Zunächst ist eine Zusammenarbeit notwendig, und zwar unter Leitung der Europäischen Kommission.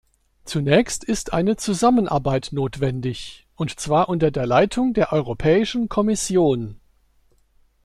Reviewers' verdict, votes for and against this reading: rejected, 1, 2